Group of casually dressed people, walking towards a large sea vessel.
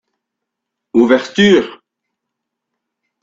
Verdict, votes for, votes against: rejected, 0, 2